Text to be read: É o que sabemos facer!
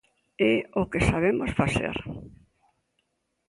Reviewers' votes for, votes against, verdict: 2, 0, accepted